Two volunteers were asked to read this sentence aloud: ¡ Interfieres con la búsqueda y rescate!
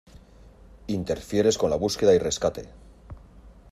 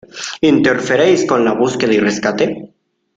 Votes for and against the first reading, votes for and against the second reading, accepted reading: 2, 0, 0, 2, first